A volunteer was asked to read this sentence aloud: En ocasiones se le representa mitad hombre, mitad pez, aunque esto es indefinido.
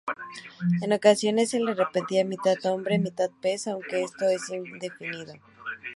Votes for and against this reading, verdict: 0, 2, rejected